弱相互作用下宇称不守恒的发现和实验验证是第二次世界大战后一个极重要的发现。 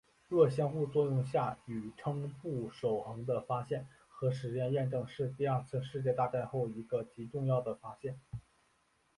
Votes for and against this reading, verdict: 2, 3, rejected